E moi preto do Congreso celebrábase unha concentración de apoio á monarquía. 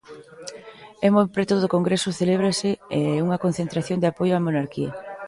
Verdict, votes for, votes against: rejected, 0, 2